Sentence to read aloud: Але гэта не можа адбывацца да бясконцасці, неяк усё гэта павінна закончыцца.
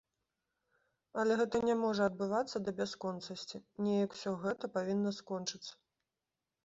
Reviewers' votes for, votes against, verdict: 0, 3, rejected